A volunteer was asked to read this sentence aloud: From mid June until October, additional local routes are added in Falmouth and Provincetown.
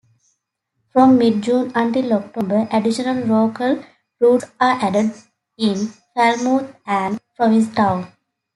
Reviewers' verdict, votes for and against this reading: accepted, 2, 1